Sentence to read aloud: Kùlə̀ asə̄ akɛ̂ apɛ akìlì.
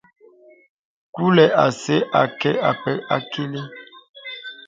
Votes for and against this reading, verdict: 0, 2, rejected